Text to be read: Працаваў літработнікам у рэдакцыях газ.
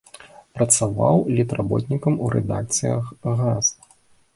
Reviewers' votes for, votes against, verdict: 2, 0, accepted